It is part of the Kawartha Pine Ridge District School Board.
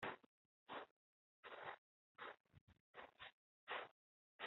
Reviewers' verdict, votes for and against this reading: rejected, 1, 2